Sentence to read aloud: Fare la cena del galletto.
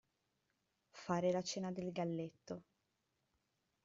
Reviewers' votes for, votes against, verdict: 2, 0, accepted